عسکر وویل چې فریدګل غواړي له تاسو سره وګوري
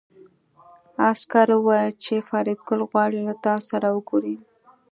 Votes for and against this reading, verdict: 2, 0, accepted